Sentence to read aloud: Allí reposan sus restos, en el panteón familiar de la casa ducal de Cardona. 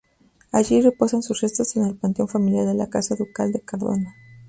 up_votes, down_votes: 0, 2